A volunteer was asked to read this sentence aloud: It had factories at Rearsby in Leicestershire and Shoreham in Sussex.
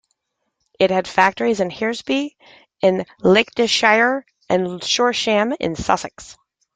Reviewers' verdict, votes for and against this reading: rejected, 1, 2